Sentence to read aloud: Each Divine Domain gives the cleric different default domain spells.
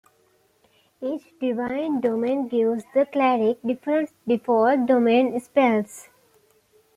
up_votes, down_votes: 2, 1